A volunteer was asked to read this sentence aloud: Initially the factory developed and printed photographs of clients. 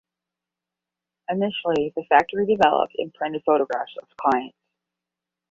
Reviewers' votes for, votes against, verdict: 10, 5, accepted